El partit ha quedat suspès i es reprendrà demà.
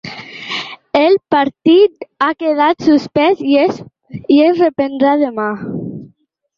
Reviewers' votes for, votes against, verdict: 0, 2, rejected